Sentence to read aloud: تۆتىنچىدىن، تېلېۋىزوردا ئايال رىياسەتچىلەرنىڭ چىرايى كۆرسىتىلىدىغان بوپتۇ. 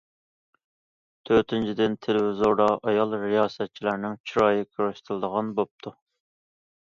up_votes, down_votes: 2, 0